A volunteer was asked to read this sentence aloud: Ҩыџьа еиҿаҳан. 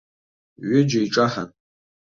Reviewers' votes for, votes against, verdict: 2, 0, accepted